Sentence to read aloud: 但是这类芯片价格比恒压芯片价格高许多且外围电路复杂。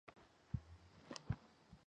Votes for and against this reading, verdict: 2, 3, rejected